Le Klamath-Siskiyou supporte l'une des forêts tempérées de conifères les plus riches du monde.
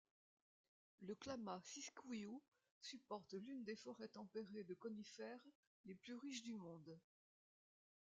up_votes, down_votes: 1, 2